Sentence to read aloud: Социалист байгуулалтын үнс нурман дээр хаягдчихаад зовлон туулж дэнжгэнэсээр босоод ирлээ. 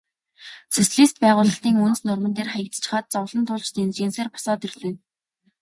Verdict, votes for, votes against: rejected, 2, 2